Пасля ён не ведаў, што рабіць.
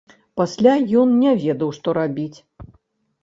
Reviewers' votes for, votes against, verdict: 1, 2, rejected